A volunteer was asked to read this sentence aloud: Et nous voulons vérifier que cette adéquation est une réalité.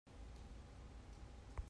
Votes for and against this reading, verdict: 0, 2, rejected